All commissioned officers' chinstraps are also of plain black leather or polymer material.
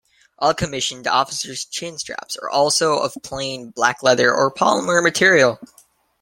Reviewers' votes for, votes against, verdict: 2, 0, accepted